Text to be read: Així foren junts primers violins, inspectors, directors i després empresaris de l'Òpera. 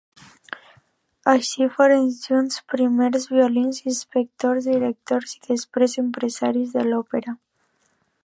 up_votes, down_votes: 2, 0